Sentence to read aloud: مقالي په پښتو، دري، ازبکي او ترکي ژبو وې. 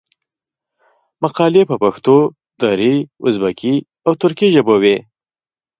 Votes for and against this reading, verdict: 0, 2, rejected